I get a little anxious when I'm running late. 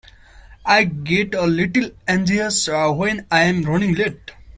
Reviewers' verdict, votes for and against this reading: rejected, 0, 2